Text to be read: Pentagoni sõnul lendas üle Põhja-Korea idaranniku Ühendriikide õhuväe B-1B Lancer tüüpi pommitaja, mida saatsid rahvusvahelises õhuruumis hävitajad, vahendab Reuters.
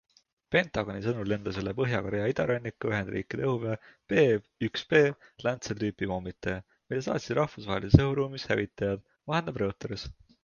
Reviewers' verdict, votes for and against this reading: rejected, 0, 2